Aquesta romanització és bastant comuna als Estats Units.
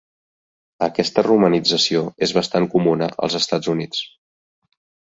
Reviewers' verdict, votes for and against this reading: accepted, 2, 0